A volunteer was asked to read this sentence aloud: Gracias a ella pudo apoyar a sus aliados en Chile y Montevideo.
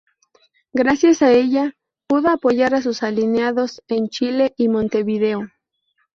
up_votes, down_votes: 0, 2